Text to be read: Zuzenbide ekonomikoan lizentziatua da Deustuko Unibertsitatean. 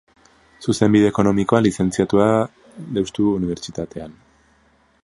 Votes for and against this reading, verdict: 0, 2, rejected